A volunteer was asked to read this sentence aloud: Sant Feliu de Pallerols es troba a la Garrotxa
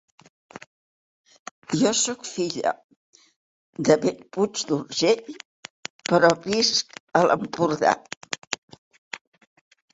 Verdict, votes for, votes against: rejected, 0, 2